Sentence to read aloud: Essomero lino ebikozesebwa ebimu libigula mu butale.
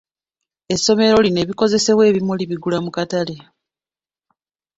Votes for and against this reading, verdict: 0, 2, rejected